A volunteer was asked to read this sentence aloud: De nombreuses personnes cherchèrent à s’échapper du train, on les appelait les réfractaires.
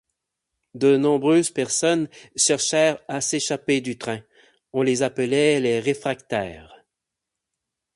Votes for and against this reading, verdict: 8, 0, accepted